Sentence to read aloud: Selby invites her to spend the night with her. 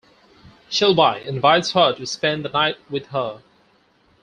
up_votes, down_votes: 2, 4